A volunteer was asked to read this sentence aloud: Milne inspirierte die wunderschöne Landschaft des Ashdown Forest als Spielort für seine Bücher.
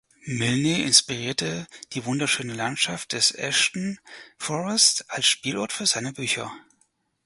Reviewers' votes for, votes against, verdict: 0, 4, rejected